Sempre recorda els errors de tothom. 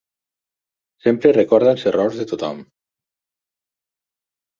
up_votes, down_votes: 6, 0